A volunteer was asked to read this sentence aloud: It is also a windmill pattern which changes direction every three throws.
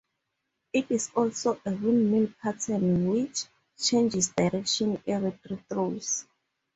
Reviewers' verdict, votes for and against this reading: accepted, 2, 0